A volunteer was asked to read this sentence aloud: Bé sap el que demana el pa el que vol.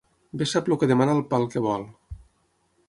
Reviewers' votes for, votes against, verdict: 0, 6, rejected